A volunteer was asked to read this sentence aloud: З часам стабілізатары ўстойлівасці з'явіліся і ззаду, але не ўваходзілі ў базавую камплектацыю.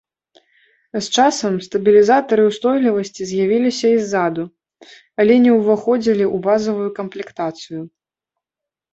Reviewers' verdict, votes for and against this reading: accepted, 2, 0